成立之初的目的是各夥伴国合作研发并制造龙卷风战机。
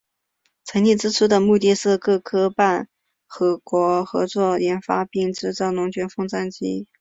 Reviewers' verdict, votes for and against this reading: accepted, 2, 0